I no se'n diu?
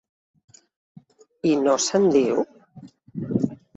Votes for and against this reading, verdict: 2, 0, accepted